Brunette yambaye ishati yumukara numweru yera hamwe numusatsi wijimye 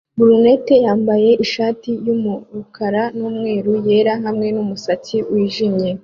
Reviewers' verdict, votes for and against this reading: accepted, 2, 0